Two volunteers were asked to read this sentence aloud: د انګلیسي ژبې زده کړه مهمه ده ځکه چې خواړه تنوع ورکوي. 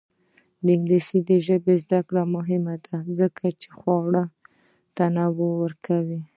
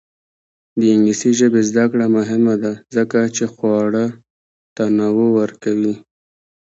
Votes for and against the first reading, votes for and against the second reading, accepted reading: 1, 2, 2, 0, second